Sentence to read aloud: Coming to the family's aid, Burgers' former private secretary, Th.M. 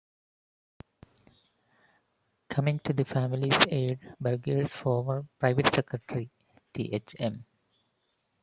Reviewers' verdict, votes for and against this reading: rejected, 1, 2